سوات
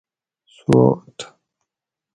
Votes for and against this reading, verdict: 2, 2, rejected